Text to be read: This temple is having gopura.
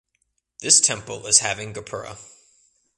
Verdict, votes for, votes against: accepted, 2, 0